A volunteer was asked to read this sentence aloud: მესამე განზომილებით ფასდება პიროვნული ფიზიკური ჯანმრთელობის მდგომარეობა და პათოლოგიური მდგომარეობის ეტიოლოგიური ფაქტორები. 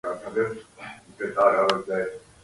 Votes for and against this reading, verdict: 0, 2, rejected